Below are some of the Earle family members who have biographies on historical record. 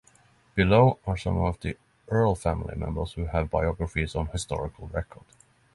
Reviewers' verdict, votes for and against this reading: accepted, 3, 0